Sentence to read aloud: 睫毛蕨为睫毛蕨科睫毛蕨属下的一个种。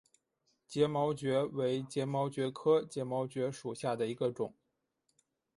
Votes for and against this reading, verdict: 2, 0, accepted